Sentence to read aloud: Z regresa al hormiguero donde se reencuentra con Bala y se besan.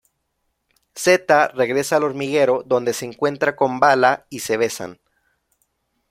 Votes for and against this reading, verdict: 0, 2, rejected